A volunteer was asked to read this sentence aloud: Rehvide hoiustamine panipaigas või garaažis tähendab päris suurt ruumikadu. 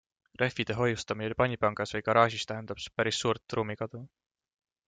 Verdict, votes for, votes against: accepted, 2, 0